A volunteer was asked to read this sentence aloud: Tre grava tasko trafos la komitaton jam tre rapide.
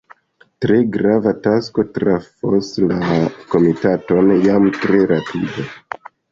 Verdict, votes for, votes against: rejected, 0, 2